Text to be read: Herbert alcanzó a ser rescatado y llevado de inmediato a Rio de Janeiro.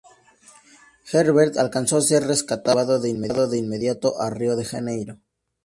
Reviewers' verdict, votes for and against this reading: rejected, 0, 4